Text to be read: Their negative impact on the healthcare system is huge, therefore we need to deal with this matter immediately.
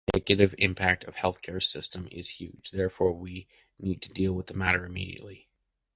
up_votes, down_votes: 1, 2